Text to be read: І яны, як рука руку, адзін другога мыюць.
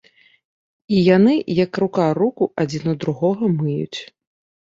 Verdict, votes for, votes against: rejected, 1, 2